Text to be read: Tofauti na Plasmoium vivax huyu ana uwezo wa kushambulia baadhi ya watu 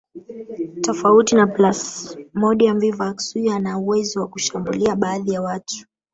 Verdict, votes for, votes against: rejected, 0, 2